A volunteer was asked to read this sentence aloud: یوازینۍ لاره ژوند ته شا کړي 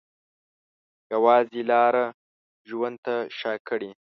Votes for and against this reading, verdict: 1, 2, rejected